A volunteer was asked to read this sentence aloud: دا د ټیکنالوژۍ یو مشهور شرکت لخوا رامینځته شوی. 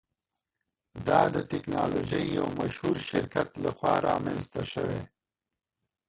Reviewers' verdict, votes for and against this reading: rejected, 0, 2